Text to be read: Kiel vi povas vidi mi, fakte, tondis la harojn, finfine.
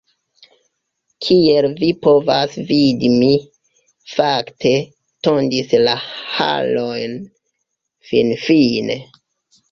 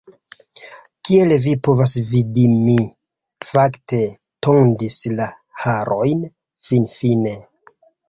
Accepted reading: second